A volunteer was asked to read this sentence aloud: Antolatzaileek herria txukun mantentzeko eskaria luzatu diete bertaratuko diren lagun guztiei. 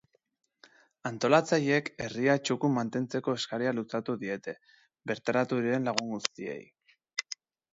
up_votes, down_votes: 0, 2